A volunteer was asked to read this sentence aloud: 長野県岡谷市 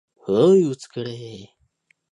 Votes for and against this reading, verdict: 0, 5, rejected